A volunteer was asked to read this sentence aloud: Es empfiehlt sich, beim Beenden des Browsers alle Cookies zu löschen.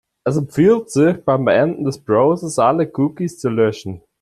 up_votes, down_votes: 2, 3